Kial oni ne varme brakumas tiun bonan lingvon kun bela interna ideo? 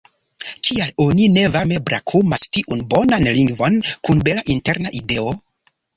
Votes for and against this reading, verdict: 2, 0, accepted